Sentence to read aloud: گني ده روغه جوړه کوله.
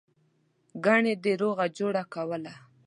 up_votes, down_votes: 2, 0